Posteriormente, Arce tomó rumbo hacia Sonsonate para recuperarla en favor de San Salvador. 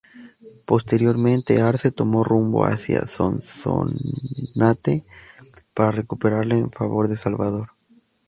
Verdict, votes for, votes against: rejected, 0, 2